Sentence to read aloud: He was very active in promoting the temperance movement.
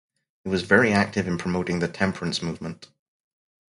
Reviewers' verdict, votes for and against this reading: accepted, 4, 0